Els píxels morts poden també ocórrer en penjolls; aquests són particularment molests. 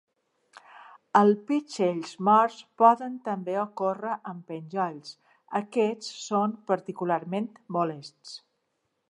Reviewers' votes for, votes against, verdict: 1, 2, rejected